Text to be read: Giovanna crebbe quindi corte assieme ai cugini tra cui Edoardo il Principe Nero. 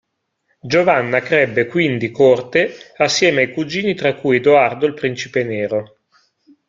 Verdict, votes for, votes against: rejected, 1, 2